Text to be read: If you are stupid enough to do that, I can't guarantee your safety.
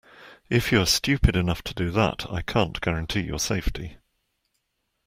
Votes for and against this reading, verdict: 2, 0, accepted